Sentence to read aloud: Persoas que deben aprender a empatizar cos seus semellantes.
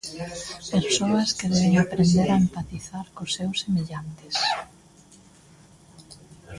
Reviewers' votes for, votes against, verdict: 0, 2, rejected